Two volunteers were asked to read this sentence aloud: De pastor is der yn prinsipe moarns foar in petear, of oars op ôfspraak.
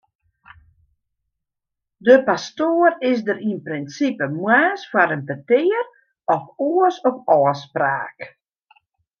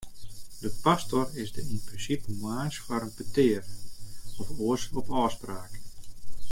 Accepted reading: second